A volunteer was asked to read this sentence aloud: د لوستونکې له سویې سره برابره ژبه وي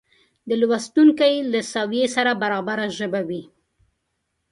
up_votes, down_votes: 2, 0